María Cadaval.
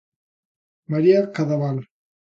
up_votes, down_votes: 2, 0